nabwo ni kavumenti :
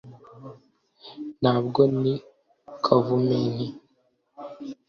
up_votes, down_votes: 2, 0